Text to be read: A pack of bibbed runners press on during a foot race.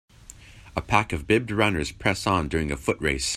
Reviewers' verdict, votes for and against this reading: accepted, 2, 0